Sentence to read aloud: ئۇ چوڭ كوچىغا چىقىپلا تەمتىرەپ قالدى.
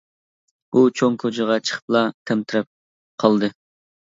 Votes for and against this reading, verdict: 2, 0, accepted